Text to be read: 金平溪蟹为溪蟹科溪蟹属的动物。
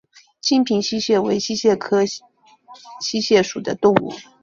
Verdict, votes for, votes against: accepted, 2, 0